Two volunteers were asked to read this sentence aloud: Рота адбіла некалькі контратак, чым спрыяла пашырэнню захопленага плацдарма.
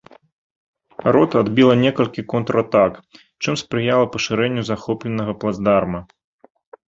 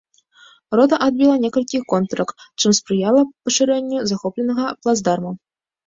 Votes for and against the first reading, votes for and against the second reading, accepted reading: 3, 0, 1, 2, first